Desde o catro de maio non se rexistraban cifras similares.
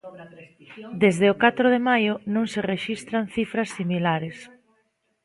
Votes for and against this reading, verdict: 0, 2, rejected